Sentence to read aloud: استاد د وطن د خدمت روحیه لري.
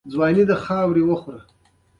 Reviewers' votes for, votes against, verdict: 1, 2, rejected